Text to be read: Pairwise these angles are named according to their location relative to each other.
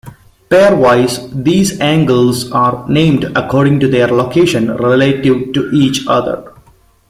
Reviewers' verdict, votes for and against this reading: accepted, 2, 0